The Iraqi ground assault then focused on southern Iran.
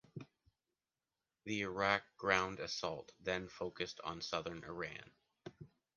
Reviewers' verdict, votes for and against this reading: rejected, 0, 2